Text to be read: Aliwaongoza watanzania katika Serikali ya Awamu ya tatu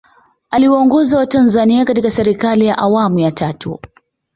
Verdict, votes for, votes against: accepted, 2, 0